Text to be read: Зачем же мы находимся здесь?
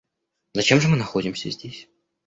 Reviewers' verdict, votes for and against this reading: accepted, 2, 1